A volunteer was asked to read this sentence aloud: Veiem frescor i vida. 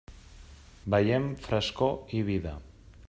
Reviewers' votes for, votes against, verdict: 3, 0, accepted